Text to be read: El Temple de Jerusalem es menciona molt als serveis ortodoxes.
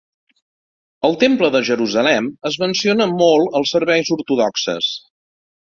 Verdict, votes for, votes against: accepted, 2, 0